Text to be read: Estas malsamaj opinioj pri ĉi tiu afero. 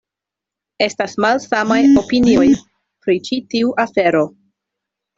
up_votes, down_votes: 1, 2